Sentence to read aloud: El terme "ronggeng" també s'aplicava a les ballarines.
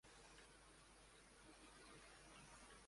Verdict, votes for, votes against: rejected, 0, 2